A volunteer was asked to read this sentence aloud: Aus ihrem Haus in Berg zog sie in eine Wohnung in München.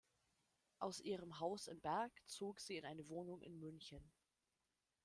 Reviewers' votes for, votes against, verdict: 0, 2, rejected